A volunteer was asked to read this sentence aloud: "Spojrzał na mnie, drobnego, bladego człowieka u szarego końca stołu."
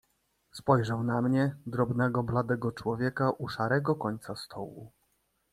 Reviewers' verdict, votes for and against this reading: accepted, 2, 1